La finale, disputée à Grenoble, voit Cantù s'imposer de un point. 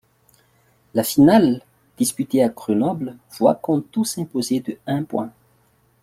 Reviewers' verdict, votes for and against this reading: rejected, 0, 2